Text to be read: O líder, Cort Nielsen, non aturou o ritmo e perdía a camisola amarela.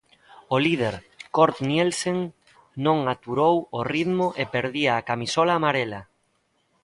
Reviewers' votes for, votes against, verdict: 1, 2, rejected